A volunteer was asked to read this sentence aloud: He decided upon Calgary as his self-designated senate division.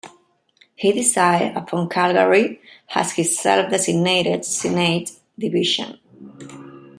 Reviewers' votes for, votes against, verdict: 1, 2, rejected